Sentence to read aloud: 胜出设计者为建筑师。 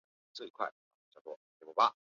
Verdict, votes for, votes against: rejected, 0, 3